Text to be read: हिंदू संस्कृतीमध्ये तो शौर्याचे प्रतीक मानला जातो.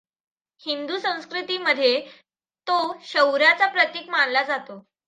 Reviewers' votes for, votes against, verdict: 2, 0, accepted